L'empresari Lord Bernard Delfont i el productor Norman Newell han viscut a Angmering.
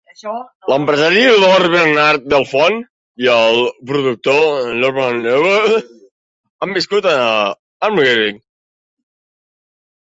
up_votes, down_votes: 1, 2